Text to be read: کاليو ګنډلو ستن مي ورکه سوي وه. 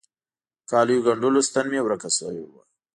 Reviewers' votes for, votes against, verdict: 2, 0, accepted